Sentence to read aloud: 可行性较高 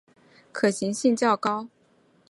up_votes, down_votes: 9, 0